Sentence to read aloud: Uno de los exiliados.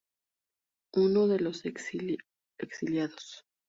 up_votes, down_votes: 0, 2